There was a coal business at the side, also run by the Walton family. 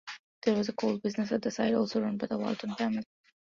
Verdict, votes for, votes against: accepted, 2, 0